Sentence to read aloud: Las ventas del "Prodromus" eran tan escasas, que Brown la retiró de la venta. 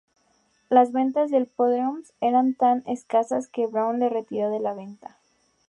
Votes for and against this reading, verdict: 0, 2, rejected